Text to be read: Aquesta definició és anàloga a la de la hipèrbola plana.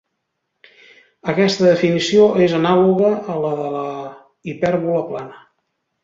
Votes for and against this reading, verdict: 0, 2, rejected